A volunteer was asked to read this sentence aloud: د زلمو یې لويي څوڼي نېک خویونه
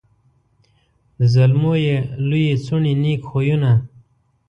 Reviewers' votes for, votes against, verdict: 2, 0, accepted